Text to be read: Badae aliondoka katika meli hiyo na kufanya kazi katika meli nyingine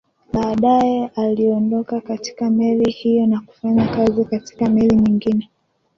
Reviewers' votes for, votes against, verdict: 0, 2, rejected